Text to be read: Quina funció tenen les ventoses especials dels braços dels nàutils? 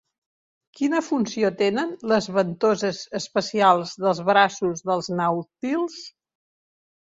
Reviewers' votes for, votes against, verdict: 2, 0, accepted